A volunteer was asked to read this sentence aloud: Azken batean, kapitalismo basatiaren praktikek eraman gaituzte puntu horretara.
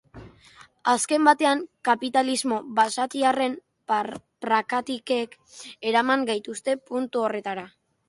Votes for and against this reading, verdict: 0, 3, rejected